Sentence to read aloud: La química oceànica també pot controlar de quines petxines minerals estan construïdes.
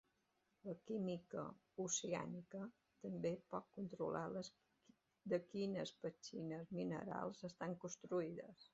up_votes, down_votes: 0, 2